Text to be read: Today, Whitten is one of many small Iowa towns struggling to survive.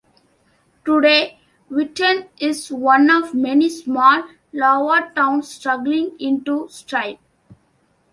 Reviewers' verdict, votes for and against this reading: accepted, 2, 1